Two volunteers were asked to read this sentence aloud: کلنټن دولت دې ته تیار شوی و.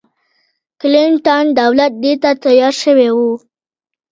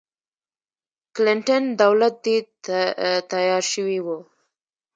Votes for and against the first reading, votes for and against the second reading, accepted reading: 2, 0, 1, 2, first